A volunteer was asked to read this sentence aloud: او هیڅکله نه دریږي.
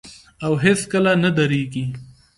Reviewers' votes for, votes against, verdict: 2, 0, accepted